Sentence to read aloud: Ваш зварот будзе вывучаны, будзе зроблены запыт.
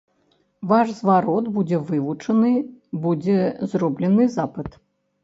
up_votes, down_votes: 0, 2